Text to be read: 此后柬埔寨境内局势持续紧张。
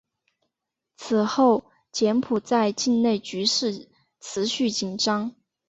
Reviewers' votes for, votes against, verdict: 2, 0, accepted